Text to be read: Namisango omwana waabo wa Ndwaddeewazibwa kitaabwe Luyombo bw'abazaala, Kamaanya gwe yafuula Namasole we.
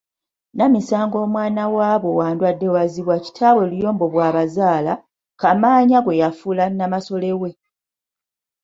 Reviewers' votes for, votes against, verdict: 2, 0, accepted